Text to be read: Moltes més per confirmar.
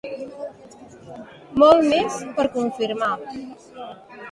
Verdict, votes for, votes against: rejected, 0, 2